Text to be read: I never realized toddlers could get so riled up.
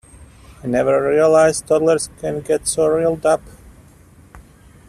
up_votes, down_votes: 1, 2